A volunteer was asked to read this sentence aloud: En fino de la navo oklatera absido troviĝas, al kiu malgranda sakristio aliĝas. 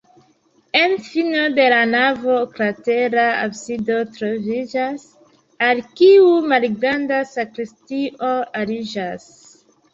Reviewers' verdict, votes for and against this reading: accepted, 2, 1